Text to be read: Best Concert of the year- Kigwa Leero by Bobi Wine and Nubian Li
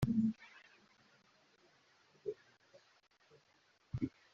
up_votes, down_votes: 0, 2